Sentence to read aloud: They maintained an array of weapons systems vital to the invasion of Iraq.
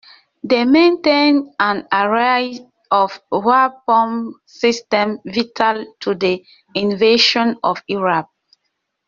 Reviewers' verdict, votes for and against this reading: rejected, 0, 2